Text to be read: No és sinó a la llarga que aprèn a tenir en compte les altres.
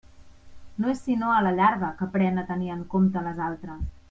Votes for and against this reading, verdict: 2, 0, accepted